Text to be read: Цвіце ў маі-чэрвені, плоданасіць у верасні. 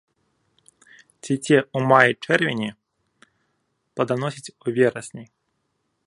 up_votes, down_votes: 0, 2